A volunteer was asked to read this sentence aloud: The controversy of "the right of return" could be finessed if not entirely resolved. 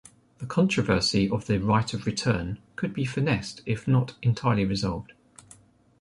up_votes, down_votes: 2, 0